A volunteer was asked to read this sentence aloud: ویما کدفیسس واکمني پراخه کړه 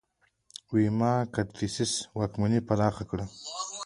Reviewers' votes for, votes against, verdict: 2, 1, accepted